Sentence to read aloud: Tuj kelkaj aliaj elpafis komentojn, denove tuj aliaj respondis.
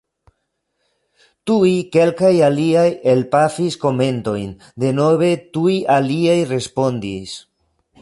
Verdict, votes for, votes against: accepted, 2, 1